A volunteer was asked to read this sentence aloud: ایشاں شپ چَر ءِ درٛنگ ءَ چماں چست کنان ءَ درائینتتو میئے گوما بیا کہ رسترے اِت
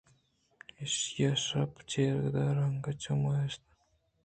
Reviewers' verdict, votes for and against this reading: rejected, 0, 3